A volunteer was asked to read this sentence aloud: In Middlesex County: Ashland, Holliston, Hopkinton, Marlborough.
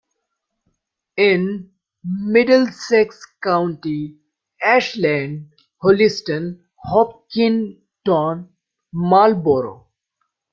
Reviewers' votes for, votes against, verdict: 1, 2, rejected